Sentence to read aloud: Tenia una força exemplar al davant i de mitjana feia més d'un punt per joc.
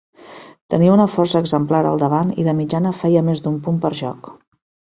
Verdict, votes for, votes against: accepted, 2, 0